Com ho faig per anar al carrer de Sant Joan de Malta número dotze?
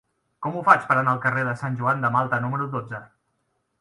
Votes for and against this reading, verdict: 3, 0, accepted